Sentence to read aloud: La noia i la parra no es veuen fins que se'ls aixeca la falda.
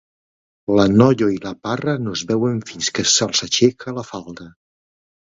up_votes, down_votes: 2, 0